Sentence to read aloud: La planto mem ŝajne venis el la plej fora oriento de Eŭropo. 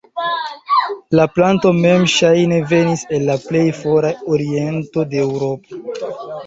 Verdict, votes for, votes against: rejected, 0, 2